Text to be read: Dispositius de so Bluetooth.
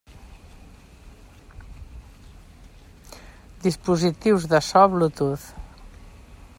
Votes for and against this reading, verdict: 3, 1, accepted